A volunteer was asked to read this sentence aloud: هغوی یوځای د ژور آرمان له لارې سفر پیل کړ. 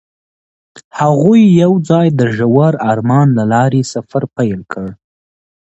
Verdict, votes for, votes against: accepted, 2, 0